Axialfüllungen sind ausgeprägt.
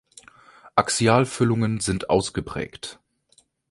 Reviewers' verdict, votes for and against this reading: accepted, 3, 0